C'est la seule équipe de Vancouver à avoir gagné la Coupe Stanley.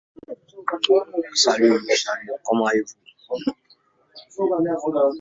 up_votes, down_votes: 0, 2